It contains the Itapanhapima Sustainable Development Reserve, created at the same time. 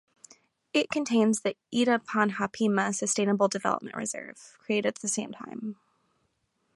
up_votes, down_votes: 2, 0